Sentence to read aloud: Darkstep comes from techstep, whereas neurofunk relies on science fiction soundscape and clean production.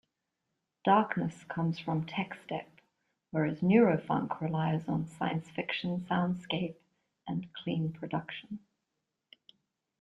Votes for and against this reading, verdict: 1, 2, rejected